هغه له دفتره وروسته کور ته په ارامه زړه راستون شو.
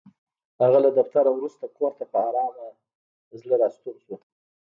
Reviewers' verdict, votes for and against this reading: accepted, 2, 0